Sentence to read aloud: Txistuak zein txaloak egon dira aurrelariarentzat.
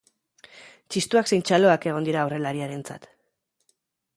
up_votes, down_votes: 2, 0